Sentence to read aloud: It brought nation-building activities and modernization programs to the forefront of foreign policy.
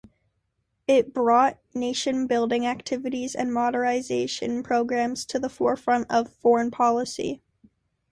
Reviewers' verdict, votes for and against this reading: rejected, 1, 2